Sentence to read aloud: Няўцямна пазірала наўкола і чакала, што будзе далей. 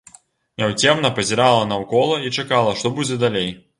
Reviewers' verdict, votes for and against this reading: accepted, 2, 0